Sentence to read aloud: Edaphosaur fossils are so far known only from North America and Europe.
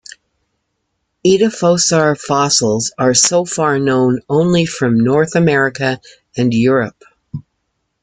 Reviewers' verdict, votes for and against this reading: accepted, 2, 0